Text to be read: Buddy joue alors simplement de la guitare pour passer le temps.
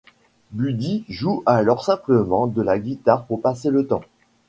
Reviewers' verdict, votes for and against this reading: accepted, 2, 0